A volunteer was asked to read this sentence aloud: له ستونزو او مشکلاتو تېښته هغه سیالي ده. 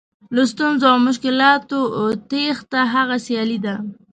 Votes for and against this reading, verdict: 2, 0, accepted